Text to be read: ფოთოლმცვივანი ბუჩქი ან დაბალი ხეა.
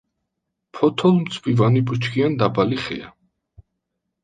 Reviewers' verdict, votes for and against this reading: accepted, 2, 0